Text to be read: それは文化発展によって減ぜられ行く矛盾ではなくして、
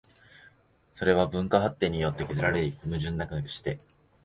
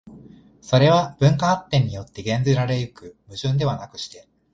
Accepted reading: second